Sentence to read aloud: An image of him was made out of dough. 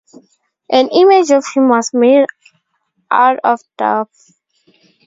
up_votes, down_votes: 0, 4